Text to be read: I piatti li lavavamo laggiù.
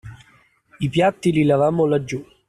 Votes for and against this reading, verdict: 0, 2, rejected